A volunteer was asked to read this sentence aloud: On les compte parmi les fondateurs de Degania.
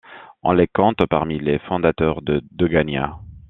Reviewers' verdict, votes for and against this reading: accepted, 2, 0